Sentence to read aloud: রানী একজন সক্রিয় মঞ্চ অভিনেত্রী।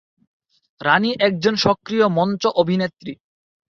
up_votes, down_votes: 0, 4